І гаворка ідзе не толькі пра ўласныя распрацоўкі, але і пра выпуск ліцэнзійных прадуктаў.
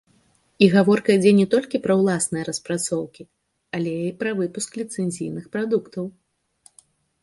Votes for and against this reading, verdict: 2, 0, accepted